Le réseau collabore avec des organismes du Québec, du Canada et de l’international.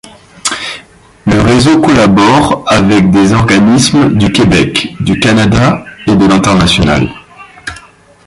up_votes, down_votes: 0, 2